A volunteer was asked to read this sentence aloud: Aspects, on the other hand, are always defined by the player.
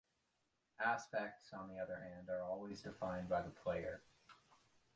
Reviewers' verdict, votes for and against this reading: accepted, 2, 0